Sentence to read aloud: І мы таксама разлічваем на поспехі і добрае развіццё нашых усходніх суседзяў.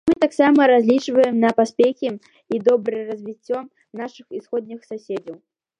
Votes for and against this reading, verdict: 0, 2, rejected